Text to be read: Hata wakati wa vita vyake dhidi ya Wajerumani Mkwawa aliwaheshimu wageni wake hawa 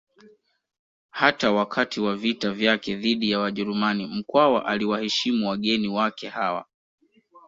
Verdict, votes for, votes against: accepted, 2, 0